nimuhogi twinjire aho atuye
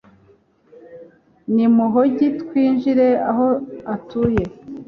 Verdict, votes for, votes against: accepted, 2, 0